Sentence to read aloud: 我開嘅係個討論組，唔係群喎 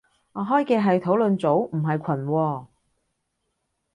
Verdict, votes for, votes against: accepted, 2, 1